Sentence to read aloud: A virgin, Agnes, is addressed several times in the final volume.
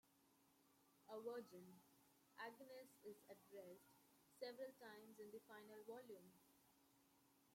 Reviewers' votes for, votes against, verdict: 1, 2, rejected